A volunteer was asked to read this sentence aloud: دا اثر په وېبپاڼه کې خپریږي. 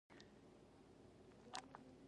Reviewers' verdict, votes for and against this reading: rejected, 1, 2